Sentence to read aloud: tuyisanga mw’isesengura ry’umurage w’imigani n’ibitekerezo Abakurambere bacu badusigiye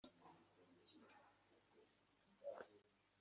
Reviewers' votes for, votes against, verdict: 0, 3, rejected